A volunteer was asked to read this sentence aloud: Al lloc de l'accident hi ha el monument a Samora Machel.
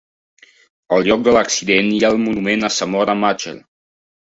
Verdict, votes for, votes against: rejected, 0, 2